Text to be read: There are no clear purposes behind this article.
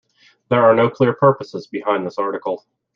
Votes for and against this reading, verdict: 2, 0, accepted